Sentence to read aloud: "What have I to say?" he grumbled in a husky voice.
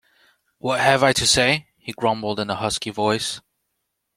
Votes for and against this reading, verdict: 2, 0, accepted